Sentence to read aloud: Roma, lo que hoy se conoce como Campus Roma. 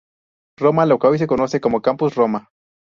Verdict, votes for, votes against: accepted, 2, 0